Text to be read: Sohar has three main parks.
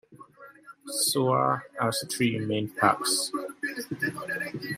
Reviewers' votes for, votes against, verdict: 2, 1, accepted